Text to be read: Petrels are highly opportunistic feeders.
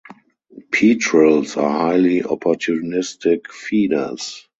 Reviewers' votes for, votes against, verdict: 2, 2, rejected